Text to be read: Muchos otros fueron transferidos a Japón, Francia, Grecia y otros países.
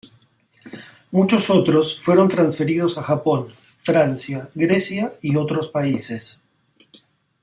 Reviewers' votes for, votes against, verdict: 2, 0, accepted